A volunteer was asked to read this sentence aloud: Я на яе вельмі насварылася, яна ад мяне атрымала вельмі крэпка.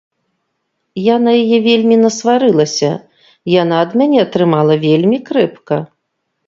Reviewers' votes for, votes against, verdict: 2, 0, accepted